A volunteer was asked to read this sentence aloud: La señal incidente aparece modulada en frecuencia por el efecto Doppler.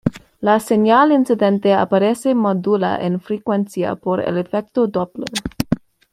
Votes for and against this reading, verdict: 1, 2, rejected